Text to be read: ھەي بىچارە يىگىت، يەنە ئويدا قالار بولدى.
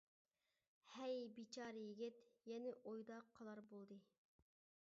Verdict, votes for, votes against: accepted, 2, 0